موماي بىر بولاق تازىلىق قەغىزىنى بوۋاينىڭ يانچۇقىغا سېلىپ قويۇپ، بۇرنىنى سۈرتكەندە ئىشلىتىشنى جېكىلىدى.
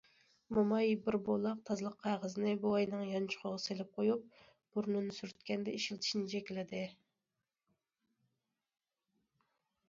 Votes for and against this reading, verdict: 2, 0, accepted